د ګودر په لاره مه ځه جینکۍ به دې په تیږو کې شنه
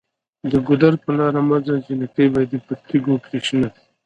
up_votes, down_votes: 1, 2